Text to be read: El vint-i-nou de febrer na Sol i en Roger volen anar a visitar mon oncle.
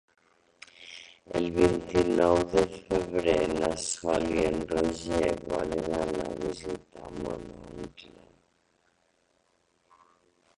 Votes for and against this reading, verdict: 1, 2, rejected